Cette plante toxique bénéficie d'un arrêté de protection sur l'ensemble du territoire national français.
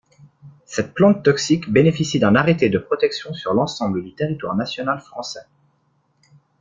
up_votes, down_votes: 1, 2